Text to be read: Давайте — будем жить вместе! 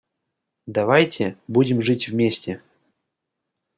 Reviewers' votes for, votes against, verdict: 2, 0, accepted